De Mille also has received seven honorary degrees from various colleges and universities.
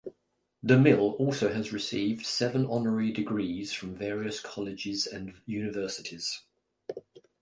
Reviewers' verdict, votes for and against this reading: accepted, 2, 0